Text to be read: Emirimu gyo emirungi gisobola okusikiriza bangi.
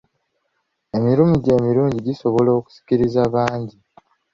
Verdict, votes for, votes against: accepted, 2, 0